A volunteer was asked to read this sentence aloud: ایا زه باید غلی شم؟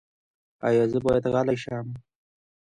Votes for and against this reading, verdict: 1, 2, rejected